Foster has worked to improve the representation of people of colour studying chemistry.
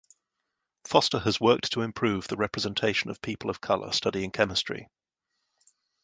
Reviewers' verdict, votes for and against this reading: accepted, 2, 0